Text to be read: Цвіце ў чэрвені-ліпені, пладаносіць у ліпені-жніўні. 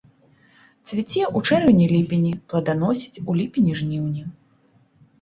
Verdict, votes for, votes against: accepted, 3, 0